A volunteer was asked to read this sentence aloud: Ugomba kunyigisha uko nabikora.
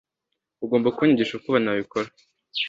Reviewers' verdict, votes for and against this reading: accepted, 2, 0